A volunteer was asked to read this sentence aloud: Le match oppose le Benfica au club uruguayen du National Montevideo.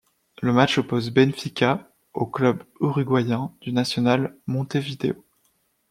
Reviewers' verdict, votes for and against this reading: rejected, 0, 2